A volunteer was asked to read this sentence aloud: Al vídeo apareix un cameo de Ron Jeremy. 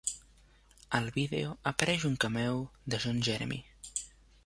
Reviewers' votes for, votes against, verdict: 1, 2, rejected